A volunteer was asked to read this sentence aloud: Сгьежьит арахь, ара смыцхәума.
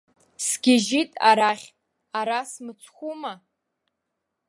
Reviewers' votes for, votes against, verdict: 3, 0, accepted